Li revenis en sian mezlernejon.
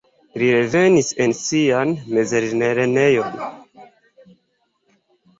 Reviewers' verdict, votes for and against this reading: rejected, 1, 2